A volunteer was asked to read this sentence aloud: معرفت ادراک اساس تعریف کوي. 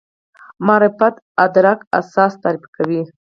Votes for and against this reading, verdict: 2, 4, rejected